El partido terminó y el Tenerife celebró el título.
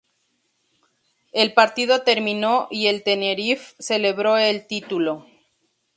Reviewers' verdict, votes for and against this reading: rejected, 0, 2